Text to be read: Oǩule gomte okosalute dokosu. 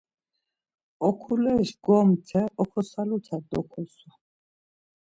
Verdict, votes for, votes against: rejected, 0, 2